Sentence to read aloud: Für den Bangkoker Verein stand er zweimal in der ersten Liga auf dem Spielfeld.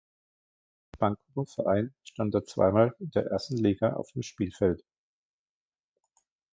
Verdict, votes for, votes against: rejected, 1, 2